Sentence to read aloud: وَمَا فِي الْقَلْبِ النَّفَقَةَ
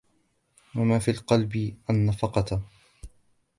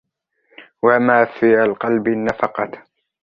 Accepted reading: first